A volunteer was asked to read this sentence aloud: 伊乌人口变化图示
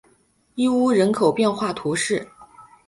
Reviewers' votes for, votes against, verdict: 2, 0, accepted